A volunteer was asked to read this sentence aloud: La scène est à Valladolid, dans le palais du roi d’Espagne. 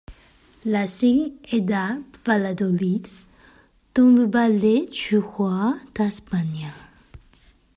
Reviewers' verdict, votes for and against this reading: rejected, 0, 2